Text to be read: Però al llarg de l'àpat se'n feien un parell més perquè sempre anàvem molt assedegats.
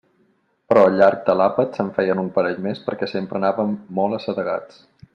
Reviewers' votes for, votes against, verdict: 2, 0, accepted